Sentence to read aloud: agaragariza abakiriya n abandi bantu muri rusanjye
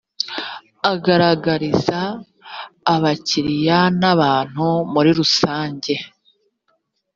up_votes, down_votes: 0, 2